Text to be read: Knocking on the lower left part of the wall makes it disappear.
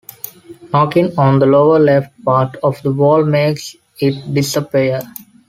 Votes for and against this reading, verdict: 2, 0, accepted